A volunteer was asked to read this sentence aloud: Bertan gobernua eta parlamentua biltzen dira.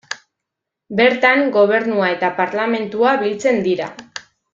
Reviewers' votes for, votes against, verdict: 2, 0, accepted